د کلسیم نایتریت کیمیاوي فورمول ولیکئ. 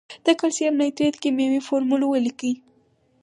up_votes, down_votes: 4, 0